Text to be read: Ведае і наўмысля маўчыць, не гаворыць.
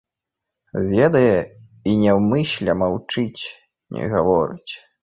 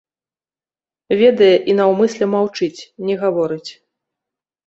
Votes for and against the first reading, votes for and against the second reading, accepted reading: 1, 3, 2, 0, second